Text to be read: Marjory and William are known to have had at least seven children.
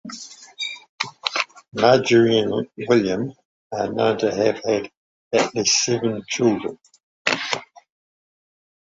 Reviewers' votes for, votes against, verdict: 2, 0, accepted